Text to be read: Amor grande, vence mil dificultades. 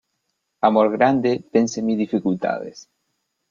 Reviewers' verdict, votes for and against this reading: accepted, 2, 0